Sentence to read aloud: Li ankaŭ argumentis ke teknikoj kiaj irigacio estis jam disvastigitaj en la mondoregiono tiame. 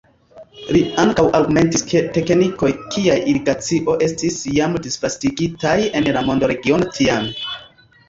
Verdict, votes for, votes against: accepted, 2, 0